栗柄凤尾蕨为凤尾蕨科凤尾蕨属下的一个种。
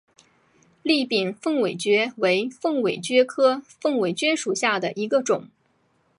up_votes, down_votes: 6, 0